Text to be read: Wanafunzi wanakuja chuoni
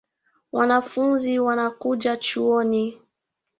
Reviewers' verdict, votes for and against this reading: accepted, 5, 0